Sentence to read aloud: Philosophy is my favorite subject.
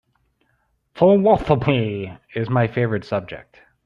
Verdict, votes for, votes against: rejected, 1, 2